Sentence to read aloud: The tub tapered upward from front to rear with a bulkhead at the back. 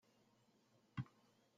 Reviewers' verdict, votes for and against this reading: rejected, 0, 2